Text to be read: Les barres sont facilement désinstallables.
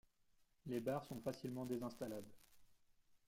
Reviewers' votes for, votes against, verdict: 2, 1, accepted